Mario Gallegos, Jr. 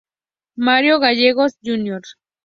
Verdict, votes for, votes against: accepted, 2, 0